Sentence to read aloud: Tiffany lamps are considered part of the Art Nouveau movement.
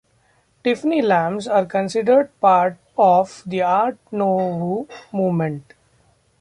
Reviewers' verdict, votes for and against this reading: rejected, 0, 2